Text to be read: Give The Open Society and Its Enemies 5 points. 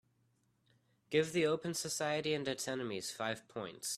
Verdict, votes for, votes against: rejected, 0, 2